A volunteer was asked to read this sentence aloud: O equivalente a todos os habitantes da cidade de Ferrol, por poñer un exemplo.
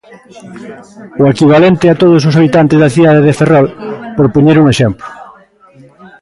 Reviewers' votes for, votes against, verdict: 2, 1, accepted